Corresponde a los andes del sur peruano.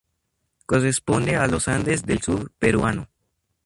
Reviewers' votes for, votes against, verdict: 2, 4, rejected